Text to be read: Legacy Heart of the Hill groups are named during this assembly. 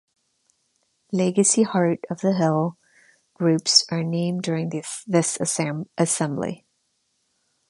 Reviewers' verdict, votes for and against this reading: rejected, 0, 2